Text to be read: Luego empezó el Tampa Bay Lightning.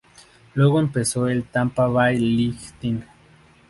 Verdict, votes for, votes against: rejected, 0, 2